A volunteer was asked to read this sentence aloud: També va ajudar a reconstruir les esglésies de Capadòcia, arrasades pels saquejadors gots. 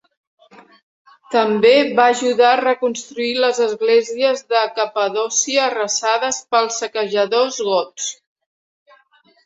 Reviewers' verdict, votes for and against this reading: accepted, 2, 0